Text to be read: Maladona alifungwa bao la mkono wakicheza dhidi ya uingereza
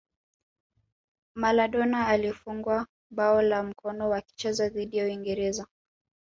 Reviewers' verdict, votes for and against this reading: rejected, 1, 2